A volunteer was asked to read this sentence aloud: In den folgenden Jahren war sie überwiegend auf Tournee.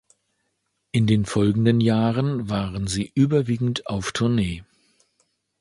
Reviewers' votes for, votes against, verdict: 0, 2, rejected